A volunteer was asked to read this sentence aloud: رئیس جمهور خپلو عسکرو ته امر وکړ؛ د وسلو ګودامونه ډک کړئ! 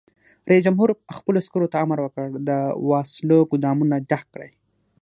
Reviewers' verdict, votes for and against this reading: accepted, 6, 0